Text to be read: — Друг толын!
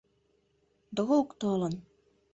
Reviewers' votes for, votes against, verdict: 1, 2, rejected